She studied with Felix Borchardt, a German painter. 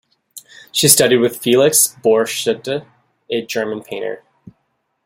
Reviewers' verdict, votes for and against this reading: rejected, 1, 2